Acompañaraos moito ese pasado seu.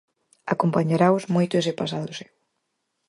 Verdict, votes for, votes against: accepted, 4, 0